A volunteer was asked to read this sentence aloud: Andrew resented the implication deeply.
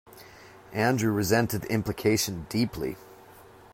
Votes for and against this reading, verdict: 2, 0, accepted